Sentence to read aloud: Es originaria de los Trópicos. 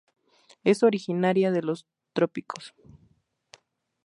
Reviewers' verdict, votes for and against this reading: accepted, 2, 0